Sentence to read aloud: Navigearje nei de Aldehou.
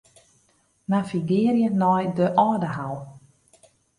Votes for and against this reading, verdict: 2, 0, accepted